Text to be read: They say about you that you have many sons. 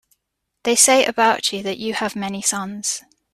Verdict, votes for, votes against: accepted, 2, 0